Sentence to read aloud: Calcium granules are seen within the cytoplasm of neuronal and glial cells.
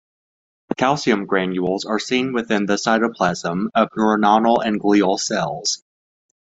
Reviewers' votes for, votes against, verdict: 0, 2, rejected